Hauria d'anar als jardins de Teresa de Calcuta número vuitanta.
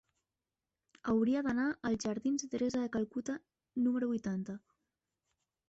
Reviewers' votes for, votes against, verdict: 2, 0, accepted